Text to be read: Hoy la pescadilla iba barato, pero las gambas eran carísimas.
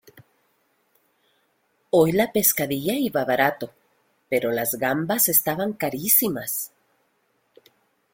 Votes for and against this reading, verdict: 1, 2, rejected